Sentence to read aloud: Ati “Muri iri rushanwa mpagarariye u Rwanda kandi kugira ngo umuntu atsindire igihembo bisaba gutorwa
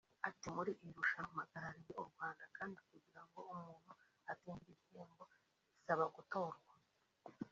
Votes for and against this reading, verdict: 1, 2, rejected